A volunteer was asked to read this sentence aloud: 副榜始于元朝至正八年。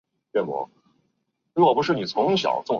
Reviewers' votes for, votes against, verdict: 0, 2, rejected